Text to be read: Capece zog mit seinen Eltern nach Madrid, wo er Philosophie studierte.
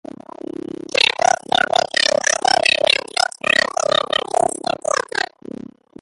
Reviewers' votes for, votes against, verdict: 0, 2, rejected